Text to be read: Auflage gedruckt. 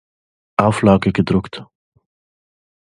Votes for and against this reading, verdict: 2, 0, accepted